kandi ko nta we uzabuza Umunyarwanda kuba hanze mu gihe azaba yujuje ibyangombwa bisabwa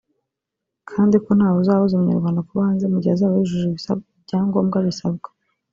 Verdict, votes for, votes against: rejected, 1, 2